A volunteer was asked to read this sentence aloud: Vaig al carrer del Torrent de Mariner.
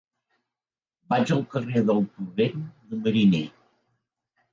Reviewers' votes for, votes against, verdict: 1, 2, rejected